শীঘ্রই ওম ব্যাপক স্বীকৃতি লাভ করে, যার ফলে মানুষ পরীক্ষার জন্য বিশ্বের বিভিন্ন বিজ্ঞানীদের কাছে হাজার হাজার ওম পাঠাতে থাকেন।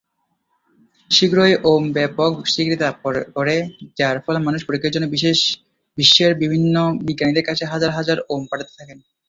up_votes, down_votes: 0, 2